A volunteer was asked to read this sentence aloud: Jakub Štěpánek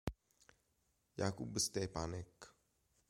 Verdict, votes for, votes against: accepted, 2, 0